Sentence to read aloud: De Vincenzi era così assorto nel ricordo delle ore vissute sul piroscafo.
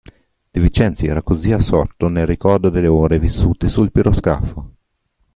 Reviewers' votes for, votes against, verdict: 1, 2, rejected